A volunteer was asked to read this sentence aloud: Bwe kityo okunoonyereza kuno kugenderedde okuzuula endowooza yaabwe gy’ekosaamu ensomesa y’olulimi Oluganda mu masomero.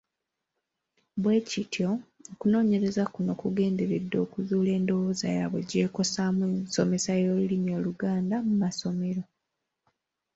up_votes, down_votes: 3, 0